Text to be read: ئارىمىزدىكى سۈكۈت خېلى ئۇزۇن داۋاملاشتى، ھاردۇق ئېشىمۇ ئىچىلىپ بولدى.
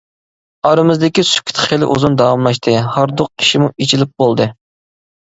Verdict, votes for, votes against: rejected, 0, 2